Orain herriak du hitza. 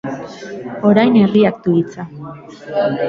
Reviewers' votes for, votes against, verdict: 0, 2, rejected